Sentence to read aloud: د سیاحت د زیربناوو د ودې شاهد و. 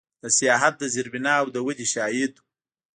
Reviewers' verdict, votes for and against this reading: rejected, 0, 2